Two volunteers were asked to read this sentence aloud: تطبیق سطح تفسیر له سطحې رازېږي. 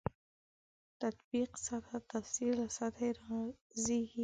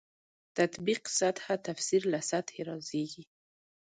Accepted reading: first